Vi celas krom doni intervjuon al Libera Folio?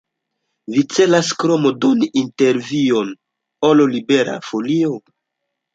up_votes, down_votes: 2, 1